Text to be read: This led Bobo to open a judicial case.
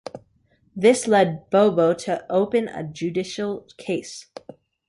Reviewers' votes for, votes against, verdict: 3, 0, accepted